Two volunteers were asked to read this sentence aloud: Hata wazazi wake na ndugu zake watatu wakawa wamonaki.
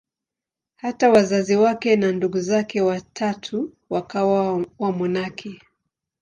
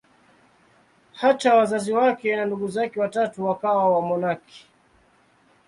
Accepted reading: second